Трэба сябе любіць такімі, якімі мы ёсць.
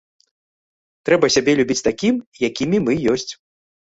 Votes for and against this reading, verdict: 0, 2, rejected